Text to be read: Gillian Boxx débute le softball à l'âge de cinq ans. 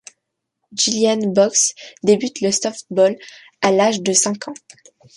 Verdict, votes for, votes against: rejected, 0, 2